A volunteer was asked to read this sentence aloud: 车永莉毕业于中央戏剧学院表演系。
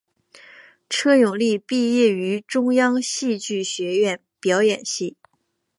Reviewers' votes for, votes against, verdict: 2, 0, accepted